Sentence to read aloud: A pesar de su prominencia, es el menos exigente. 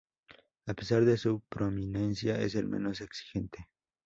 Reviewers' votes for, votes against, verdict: 2, 0, accepted